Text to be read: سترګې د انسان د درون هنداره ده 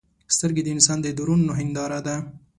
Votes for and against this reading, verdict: 2, 1, accepted